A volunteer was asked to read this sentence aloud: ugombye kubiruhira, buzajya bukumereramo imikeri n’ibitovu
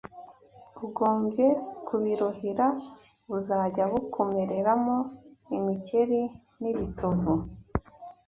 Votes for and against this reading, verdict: 2, 0, accepted